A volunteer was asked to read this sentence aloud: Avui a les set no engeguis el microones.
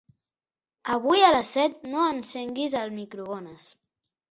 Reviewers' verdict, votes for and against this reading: rejected, 0, 2